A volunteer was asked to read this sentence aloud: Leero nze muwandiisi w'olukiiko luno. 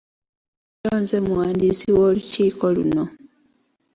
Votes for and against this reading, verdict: 0, 2, rejected